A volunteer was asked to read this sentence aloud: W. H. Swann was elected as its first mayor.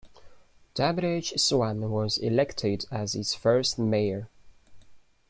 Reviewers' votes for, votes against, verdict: 2, 1, accepted